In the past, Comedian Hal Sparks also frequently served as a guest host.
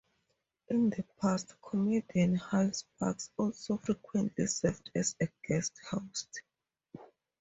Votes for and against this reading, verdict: 2, 0, accepted